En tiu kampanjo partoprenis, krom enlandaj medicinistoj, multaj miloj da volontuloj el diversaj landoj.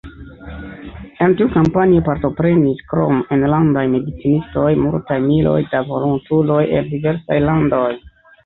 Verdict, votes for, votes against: accepted, 2, 0